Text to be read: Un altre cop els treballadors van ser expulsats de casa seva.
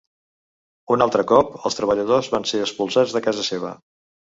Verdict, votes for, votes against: accepted, 2, 0